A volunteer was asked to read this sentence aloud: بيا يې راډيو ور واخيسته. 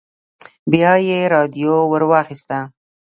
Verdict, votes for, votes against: rejected, 1, 2